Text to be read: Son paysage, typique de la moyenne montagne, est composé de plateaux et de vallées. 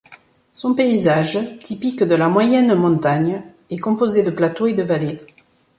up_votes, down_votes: 2, 0